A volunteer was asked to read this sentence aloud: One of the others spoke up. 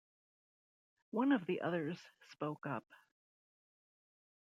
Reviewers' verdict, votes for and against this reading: accepted, 2, 0